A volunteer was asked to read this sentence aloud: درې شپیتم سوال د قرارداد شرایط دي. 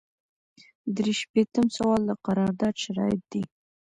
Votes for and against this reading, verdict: 1, 2, rejected